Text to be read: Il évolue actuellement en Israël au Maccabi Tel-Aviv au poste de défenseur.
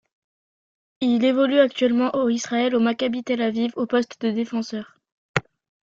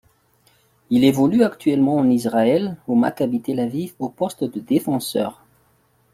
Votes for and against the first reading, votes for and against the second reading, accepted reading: 1, 2, 2, 0, second